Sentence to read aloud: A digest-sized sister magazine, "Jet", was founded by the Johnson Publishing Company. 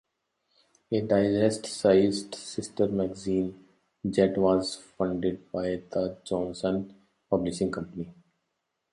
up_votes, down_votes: 2, 1